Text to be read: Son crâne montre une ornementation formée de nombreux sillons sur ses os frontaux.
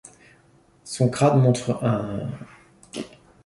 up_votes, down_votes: 0, 2